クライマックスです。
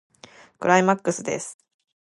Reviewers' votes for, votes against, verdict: 2, 0, accepted